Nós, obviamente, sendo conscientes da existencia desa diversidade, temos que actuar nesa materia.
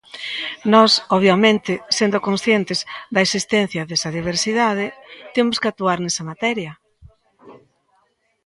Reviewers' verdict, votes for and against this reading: rejected, 1, 2